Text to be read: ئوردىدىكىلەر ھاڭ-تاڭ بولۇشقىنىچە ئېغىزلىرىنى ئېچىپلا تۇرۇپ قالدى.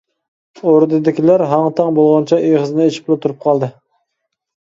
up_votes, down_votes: 0, 2